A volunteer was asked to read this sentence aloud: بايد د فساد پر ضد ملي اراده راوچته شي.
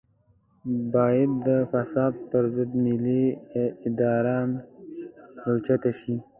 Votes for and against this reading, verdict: 2, 1, accepted